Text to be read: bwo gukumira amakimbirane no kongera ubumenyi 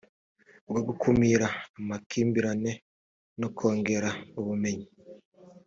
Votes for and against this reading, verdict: 2, 0, accepted